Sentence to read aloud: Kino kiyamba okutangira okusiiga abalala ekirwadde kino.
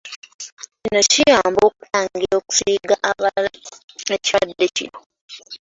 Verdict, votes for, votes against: rejected, 1, 2